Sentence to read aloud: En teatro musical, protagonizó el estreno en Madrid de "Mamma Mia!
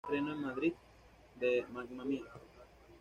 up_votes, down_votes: 1, 2